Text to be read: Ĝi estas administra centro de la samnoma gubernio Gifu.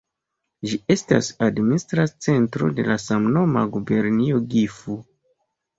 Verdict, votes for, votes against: accepted, 2, 0